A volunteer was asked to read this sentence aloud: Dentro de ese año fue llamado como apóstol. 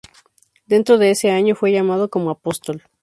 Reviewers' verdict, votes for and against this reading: rejected, 0, 2